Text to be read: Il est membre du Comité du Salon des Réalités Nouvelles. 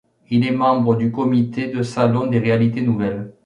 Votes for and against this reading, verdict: 0, 2, rejected